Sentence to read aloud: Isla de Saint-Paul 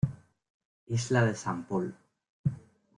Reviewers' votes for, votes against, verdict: 1, 3, rejected